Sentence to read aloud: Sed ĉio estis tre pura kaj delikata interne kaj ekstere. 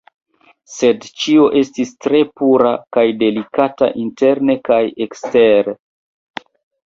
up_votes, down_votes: 0, 2